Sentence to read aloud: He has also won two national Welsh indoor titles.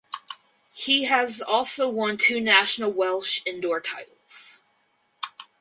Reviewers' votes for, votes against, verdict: 4, 0, accepted